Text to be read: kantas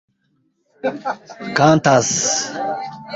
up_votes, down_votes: 0, 2